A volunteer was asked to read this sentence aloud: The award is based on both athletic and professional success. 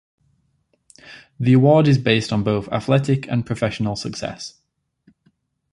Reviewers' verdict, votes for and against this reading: accepted, 2, 0